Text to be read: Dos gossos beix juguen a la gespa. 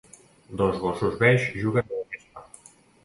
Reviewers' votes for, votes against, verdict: 1, 2, rejected